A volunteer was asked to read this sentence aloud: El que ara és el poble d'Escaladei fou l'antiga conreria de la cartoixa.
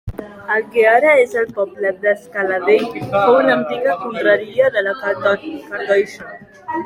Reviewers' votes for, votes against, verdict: 1, 2, rejected